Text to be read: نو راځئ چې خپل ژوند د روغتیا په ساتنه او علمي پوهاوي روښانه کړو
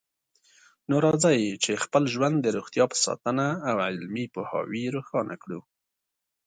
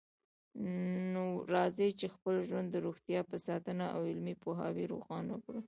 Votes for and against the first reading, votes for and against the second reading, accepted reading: 2, 0, 0, 2, first